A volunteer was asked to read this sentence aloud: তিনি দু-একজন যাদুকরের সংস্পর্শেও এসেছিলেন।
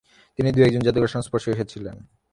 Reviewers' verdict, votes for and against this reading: rejected, 0, 3